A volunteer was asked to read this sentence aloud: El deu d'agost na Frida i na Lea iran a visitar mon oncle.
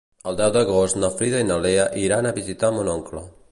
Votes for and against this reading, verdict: 2, 0, accepted